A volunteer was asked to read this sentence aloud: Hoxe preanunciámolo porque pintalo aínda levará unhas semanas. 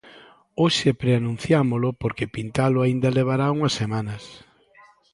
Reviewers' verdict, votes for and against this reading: accepted, 2, 0